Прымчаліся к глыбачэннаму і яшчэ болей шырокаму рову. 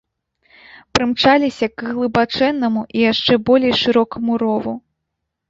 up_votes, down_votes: 2, 0